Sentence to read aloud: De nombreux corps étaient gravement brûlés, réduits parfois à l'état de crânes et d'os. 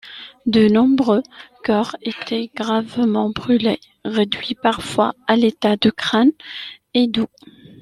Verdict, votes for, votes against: rejected, 1, 2